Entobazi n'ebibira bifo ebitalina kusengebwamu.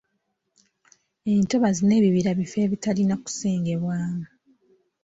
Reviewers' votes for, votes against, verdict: 2, 0, accepted